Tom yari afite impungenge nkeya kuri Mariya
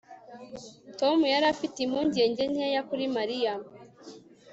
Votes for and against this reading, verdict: 0, 2, rejected